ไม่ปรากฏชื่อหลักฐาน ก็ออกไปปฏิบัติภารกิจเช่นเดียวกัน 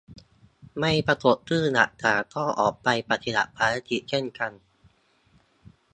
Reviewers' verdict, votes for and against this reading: rejected, 0, 2